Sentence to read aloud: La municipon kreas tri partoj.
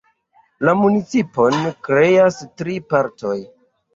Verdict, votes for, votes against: accepted, 2, 0